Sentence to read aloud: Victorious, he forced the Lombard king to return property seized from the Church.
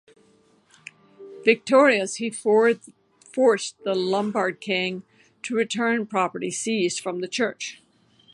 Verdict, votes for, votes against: rejected, 0, 2